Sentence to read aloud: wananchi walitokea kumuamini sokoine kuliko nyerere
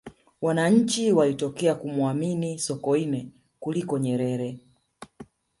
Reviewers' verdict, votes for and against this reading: rejected, 1, 2